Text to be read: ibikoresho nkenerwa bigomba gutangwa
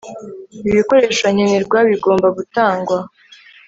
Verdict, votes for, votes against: accepted, 2, 0